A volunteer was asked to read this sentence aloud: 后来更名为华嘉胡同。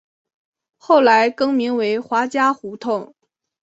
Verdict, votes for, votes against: accepted, 4, 0